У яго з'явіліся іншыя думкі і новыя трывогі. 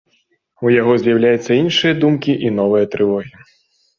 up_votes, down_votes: 0, 2